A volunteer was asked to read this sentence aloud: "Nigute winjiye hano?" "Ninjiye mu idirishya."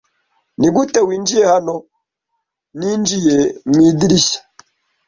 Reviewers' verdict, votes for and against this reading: accepted, 2, 0